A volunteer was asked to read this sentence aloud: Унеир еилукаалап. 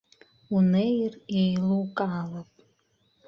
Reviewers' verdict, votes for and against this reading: rejected, 1, 2